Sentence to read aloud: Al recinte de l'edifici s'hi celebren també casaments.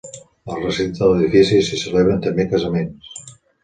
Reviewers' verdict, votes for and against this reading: accepted, 2, 0